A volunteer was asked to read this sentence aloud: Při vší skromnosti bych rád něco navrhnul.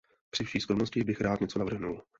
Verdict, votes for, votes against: accepted, 2, 0